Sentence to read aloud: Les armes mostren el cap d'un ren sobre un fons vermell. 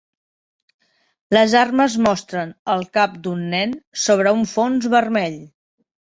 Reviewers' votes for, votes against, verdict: 0, 2, rejected